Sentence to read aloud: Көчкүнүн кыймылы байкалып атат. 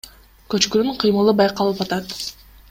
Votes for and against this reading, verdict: 2, 0, accepted